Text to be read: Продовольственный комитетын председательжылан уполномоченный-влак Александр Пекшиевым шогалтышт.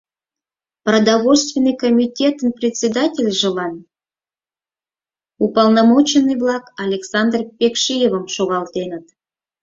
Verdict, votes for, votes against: rejected, 0, 4